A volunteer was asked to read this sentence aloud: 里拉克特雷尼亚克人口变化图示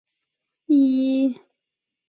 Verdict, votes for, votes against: rejected, 0, 4